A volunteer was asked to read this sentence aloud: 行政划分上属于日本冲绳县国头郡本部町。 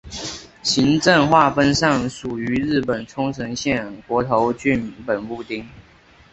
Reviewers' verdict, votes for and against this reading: accepted, 2, 1